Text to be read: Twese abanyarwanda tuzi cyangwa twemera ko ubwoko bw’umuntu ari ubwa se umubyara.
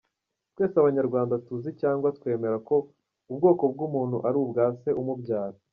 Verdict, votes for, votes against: accepted, 2, 0